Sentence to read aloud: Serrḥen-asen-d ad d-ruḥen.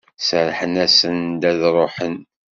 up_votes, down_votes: 2, 0